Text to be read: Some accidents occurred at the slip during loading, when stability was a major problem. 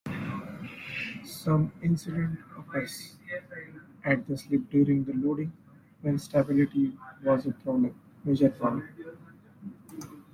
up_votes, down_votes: 1, 2